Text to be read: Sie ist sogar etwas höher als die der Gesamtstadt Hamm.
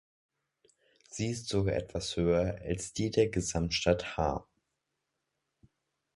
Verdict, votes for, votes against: rejected, 0, 2